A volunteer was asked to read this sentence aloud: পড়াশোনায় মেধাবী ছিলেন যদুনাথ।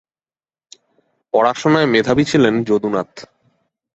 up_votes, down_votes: 3, 0